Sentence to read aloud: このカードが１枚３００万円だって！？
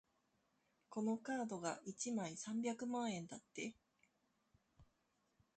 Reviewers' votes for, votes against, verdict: 0, 2, rejected